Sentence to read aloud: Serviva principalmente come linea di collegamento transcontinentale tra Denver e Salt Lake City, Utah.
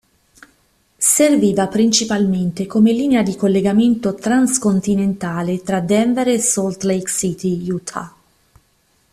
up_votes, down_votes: 2, 0